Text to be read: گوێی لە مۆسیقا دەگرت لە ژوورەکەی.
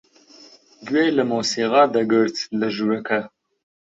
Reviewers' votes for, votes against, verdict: 1, 3, rejected